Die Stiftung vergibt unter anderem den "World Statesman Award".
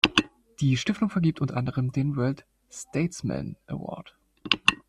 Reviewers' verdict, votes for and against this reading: accepted, 2, 0